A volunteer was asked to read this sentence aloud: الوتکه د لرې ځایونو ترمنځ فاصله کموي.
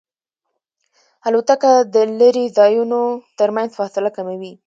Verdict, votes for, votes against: accepted, 2, 0